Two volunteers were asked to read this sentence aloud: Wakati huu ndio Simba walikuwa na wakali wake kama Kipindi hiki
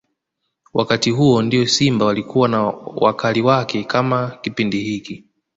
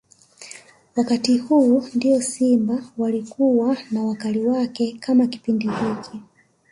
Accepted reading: first